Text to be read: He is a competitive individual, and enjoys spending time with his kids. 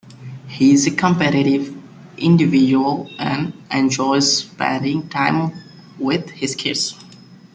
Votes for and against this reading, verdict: 1, 2, rejected